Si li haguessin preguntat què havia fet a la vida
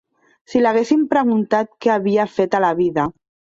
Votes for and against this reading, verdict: 3, 4, rejected